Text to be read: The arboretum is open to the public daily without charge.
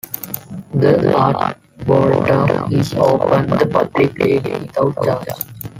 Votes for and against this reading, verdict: 0, 2, rejected